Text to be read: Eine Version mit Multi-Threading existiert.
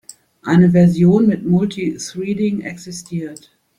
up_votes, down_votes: 1, 2